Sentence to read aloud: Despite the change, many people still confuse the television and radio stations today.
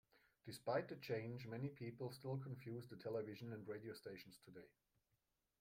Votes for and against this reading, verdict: 2, 0, accepted